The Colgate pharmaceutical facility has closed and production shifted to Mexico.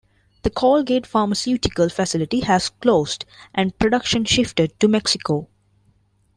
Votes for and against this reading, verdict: 2, 0, accepted